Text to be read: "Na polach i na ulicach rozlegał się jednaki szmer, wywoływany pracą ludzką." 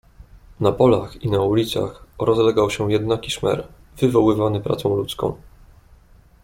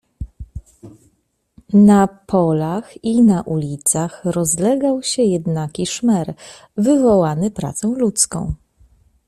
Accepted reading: first